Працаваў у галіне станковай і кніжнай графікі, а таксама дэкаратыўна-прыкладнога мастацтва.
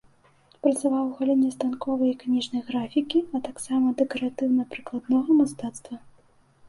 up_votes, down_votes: 2, 0